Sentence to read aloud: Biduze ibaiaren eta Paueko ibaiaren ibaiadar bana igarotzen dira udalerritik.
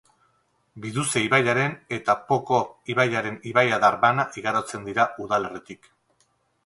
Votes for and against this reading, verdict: 4, 0, accepted